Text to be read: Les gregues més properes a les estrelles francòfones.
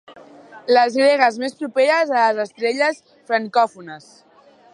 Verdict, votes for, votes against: accepted, 4, 0